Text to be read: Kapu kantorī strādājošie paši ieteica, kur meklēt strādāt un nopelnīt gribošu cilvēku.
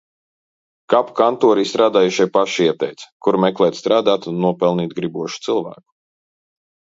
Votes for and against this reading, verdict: 1, 2, rejected